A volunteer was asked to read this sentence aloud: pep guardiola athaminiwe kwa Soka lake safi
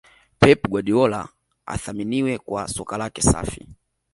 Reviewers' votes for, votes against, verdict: 2, 0, accepted